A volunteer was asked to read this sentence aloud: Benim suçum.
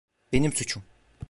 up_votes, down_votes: 2, 0